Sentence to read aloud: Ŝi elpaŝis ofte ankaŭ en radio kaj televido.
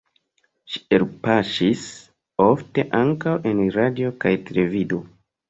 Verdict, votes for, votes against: rejected, 1, 2